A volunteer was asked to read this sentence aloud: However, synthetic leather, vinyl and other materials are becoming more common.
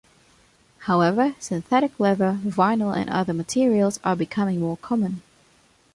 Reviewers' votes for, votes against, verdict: 2, 0, accepted